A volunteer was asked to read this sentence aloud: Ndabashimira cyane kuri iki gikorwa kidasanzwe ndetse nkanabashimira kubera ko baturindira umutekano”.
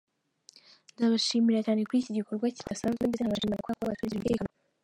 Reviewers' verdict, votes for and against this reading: rejected, 0, 2